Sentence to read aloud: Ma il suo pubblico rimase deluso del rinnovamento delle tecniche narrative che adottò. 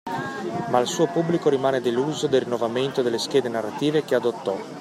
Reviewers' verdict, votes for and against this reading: rejected, 1, 2